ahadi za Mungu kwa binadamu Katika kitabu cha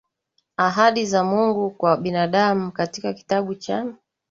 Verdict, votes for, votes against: rejected, 1, 3